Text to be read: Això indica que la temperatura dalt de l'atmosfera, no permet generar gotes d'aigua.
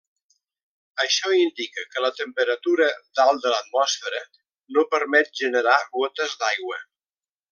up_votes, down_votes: 1, 2